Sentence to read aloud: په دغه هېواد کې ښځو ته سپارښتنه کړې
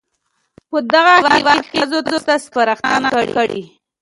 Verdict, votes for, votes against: rejected, 0, 2